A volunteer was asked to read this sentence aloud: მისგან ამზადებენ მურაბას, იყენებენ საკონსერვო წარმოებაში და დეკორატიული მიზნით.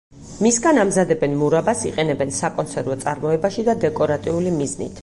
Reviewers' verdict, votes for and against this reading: accepted, 4, 0